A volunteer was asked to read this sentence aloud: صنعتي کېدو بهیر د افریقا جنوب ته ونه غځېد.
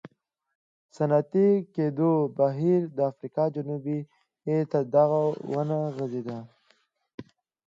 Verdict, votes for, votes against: accepted, 2, 1